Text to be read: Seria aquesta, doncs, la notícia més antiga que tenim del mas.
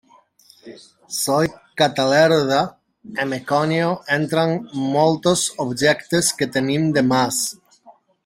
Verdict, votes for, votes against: rejected, 0, 2